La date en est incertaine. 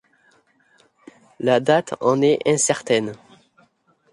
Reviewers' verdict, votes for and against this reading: accepted, 2, 0